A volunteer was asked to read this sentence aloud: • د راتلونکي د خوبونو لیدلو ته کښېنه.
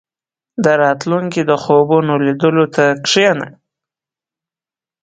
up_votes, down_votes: 10, 0